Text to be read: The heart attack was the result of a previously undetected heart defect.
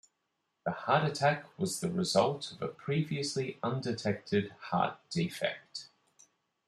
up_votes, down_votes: 2, 1